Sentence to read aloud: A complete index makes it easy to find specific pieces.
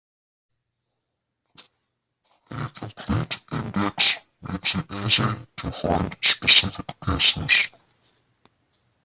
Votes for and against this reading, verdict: 0, 2, rejected